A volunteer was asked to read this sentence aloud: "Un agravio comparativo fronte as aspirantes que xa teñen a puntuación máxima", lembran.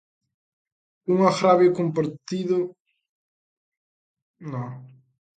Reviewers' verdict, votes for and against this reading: rejected, 0, 2